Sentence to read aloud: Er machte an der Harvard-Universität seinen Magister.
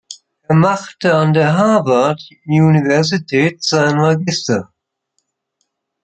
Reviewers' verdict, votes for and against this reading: accepted, 2, 1